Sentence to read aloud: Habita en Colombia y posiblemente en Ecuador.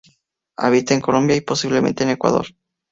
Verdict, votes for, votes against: accepted, 4, 0